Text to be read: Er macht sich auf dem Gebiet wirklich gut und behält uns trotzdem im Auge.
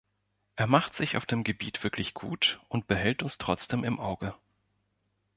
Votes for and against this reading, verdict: 2, 0, accepted